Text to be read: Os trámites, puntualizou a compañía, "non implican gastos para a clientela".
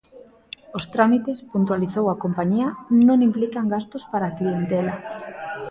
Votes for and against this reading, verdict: 0, 2, rejected